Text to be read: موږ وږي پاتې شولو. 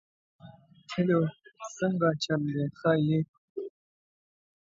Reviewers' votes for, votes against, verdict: 0, 2, rejected